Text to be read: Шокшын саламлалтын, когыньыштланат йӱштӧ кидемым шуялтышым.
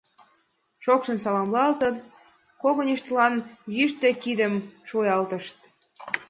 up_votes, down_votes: 1, 2